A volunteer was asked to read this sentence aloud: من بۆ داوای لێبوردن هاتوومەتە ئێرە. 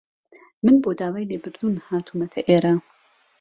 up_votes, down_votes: 0, 2